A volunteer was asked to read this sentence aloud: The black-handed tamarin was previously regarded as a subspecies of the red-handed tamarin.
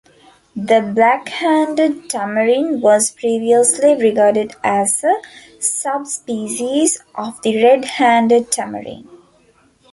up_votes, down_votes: 2, 0